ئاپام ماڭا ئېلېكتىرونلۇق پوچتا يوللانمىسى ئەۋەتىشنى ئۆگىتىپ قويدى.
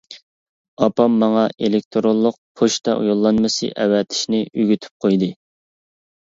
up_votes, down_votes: 2, 0